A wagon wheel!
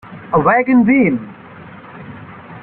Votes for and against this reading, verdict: 3, 0, accepted